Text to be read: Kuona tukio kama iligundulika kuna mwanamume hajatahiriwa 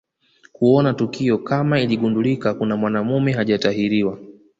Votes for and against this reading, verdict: 2, 0, accepted